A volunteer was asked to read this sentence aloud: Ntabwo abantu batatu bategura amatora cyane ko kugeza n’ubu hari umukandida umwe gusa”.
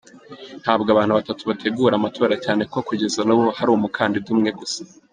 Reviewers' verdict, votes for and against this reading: accepted, 2, 0